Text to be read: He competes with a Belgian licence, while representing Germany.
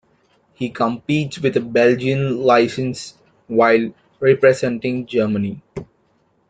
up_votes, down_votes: 2, 0